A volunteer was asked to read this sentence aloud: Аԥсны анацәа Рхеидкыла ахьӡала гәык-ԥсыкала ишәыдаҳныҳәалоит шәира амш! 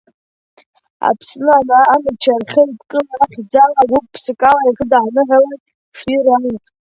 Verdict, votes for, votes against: rejected, 1, 2